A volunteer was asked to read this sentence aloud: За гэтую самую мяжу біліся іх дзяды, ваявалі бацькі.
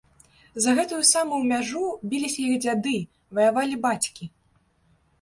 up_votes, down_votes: 0, 2